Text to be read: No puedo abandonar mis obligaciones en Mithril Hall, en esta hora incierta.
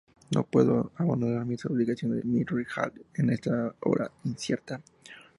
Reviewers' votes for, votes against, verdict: 2, 0, accepted